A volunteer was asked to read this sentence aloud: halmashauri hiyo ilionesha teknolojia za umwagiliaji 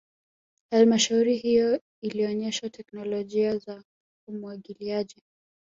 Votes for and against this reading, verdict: 0, 2, rejected